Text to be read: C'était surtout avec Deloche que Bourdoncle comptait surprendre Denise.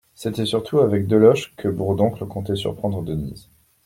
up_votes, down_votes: 2, 0